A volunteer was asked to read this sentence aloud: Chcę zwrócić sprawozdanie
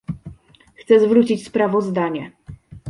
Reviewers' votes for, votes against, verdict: 2, 0, accepted